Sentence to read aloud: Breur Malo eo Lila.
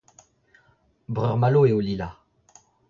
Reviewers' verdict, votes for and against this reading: accepted, 2, 1